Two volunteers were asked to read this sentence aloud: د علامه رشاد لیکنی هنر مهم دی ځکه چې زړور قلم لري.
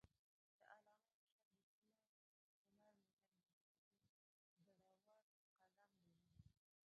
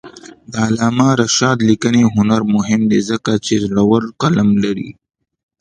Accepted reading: second